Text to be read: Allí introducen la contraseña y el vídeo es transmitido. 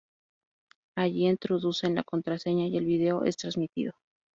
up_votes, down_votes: 2, 0